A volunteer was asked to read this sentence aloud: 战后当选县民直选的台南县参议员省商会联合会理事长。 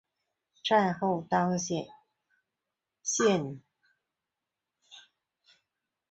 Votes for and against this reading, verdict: 1, 2, rejected